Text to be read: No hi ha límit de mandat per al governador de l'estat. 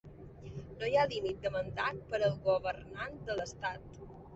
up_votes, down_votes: 0, 2